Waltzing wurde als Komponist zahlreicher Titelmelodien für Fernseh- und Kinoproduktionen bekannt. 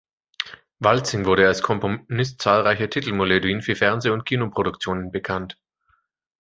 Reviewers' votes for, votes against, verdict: 0, 2, rejected